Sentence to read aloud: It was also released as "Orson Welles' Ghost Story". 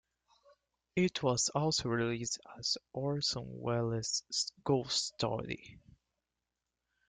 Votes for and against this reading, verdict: 2, 1, accepted